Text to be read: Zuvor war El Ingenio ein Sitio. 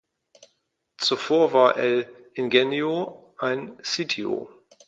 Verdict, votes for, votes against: accepted, 2, 0